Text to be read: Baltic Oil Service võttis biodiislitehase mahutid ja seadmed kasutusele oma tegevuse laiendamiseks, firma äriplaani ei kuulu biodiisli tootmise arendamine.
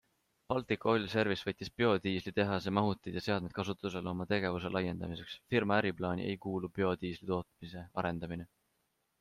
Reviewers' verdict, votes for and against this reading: accepted, 2, 0